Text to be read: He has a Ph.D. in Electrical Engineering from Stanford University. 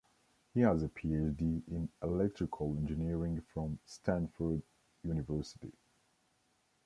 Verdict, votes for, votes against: rejected, 1, 2